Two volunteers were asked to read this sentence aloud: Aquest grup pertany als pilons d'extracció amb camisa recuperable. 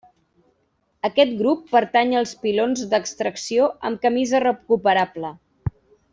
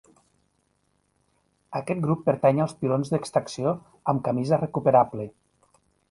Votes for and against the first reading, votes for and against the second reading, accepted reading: 0, 2, 3, 0, second